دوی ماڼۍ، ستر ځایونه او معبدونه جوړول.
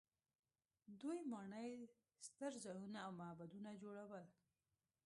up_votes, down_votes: 2, 1